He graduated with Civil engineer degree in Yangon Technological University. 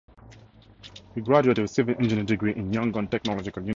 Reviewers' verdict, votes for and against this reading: rejected, 0, 2